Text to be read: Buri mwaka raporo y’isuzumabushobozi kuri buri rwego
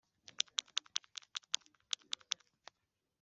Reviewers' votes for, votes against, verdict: 0, 2, rejected